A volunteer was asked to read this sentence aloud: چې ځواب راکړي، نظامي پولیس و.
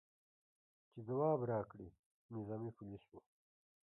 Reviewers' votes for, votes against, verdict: 1, 2, rejected